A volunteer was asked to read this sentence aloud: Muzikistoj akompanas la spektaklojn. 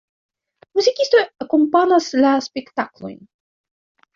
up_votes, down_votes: 1, 2